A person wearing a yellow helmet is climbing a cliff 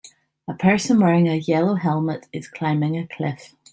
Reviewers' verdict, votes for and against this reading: accepted, 2, 0